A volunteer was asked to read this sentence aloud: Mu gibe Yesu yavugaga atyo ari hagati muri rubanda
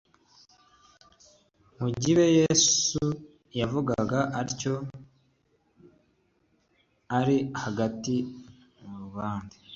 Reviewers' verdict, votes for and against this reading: accepted, 2, 0